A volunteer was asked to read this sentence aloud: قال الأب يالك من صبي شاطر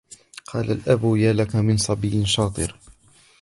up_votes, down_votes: 2, 0